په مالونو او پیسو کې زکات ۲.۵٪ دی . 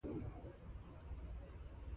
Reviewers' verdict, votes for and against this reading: rejected, 0, 2